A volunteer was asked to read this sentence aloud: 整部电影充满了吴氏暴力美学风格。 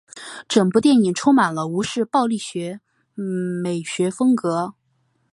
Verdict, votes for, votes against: rejected, 0, 3